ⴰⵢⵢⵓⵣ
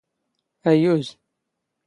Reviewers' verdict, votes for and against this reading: accepted, 2, 0